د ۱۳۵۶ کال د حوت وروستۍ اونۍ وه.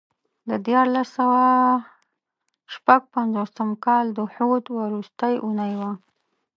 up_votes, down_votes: 0, 2